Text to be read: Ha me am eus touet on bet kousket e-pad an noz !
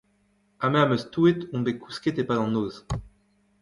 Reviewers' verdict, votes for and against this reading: rejected, 1, 2